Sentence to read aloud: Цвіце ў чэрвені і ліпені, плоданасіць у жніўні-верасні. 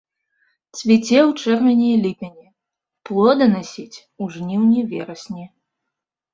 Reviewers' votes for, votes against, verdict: 0, 2, rejected